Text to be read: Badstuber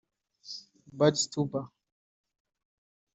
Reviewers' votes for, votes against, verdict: 1, 3, rejected